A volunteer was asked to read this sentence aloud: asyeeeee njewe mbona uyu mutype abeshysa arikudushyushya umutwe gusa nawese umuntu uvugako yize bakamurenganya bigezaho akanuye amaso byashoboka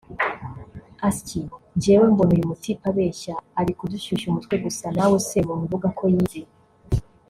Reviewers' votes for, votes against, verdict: 0, 2, rejected